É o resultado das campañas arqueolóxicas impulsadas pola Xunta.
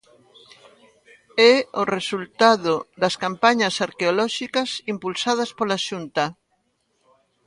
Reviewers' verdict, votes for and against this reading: accepted, 2, 0